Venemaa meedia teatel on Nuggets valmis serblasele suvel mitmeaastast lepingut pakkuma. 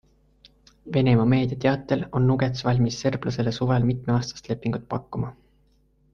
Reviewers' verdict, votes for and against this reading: accepted, 2, 1